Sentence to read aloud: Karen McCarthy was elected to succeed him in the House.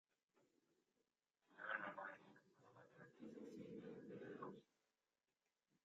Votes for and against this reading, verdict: 0, 2, rejected